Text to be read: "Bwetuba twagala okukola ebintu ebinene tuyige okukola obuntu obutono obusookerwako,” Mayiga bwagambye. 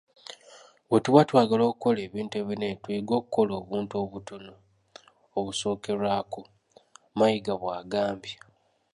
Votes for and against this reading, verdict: 2, 0, accepted